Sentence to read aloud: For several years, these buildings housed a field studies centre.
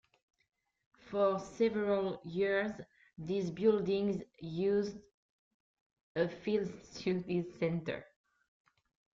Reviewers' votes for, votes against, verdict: 0, 2, rejected